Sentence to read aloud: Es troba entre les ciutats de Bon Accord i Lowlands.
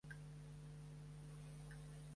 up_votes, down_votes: 0, 2